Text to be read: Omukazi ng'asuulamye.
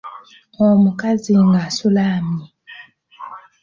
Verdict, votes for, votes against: rejected, 1, 2